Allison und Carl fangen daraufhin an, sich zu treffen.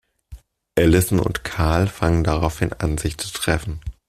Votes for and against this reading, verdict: 2, 0, accepted